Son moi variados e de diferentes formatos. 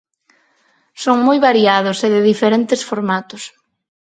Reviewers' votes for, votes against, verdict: 4, 0, accepted